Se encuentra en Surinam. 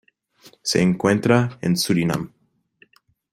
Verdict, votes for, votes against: accepted, 2, 0